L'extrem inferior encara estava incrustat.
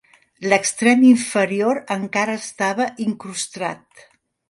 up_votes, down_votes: 0, 2